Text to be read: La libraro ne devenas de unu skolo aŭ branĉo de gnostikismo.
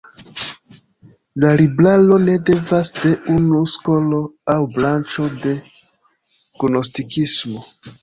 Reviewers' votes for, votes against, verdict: 0, 2, rejected